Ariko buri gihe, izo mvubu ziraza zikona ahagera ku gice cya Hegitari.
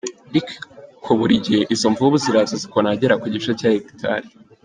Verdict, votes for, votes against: accepted, 2, 0